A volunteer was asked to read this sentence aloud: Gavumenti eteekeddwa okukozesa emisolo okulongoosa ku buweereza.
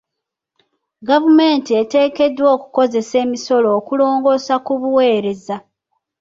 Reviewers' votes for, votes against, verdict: 1, 2, rejected